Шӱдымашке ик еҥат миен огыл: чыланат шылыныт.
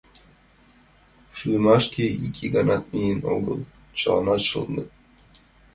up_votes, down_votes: 0, 2